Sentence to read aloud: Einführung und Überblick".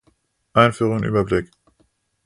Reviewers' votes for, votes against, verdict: 0, 2, rejected